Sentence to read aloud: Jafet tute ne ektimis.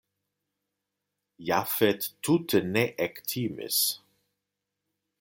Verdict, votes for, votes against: accepted, 2, 0